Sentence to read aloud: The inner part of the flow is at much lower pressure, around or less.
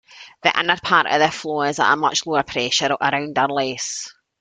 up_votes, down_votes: 2, 0